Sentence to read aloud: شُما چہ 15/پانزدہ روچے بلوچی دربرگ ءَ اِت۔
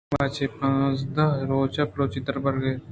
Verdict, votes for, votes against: rejected, 0, 2